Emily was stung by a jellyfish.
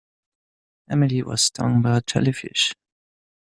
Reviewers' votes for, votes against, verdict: 2, 0, accepted